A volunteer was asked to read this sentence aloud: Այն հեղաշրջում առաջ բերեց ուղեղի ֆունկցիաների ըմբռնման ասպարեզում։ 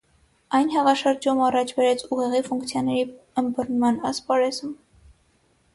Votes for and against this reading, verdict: 3, 0, accepted